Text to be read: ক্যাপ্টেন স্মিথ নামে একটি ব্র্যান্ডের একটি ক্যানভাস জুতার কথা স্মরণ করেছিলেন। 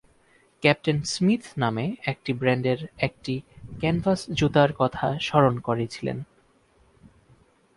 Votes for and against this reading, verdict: 0, 2, rejected